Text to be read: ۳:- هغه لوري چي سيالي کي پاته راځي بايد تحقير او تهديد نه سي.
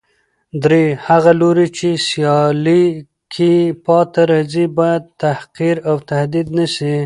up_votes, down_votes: 0, 2